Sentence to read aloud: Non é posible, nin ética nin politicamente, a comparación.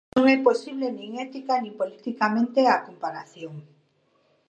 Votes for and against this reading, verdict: 2, 0, accepted